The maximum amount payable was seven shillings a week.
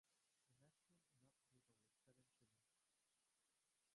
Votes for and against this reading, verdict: 0, 2, rejected